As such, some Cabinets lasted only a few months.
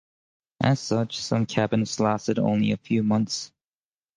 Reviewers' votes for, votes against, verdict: 2, 2, rejected